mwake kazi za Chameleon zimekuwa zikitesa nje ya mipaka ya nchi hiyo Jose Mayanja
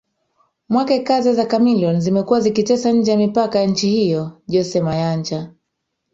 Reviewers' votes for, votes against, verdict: 1, 2, rejected